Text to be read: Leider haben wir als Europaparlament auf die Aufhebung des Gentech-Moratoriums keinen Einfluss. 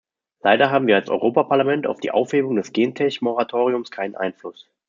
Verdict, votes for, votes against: accepted, 2, 0